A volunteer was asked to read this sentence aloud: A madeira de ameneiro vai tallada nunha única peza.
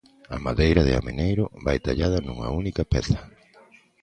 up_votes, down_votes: 2, 0